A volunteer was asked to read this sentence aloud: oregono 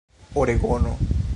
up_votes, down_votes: 1, 2